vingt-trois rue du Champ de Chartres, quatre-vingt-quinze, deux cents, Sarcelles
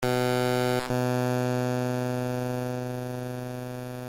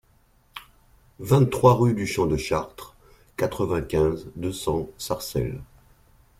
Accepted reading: second